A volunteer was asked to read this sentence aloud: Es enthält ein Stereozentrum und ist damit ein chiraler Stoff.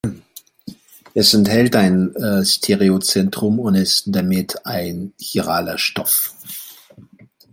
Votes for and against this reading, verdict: 2, 0, accepted